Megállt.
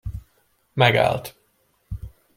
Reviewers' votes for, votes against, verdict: 2, 0, accepted